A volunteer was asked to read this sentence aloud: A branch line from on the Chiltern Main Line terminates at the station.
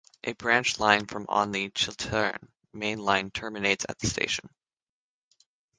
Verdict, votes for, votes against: rejected, 0, 3